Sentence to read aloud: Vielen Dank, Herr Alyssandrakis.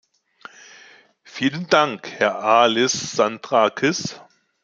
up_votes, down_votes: 2, 0